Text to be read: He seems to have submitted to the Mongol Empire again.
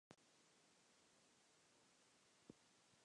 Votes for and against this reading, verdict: 1, 2, rejected